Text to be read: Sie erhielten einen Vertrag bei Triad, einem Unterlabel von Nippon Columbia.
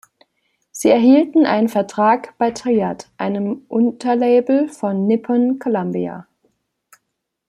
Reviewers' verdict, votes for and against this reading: accepted, 2, 0